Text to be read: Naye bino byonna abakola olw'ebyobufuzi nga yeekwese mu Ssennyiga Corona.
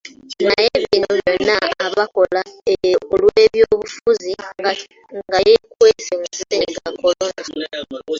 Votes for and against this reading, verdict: 2, 1, accepted